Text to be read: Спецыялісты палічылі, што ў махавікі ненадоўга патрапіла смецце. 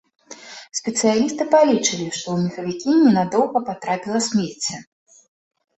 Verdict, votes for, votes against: rejected, 0, 2